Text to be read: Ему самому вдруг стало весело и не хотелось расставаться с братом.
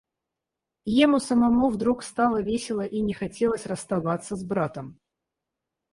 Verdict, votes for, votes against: rejected, 0, 4